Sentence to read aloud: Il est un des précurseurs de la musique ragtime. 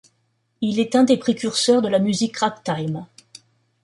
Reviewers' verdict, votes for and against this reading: accepted, 2, 0